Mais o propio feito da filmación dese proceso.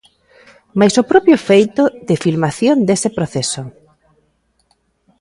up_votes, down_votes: 1, 2